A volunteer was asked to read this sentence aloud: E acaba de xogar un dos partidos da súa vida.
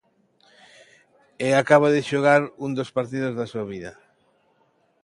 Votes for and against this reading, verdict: 2, 0, accepted